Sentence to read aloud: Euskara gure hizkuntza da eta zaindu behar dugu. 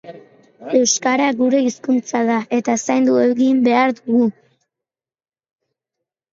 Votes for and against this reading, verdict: 0, 2, rejected